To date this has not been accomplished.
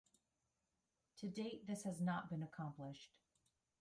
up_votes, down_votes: 2, 1